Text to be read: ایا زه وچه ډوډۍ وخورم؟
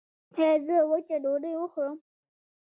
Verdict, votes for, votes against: rejected, 0, 2